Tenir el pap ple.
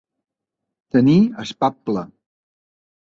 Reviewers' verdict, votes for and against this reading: rejected, 1, 2